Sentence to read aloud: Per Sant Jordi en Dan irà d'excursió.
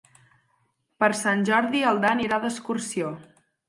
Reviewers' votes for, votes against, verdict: 6, 2, accepted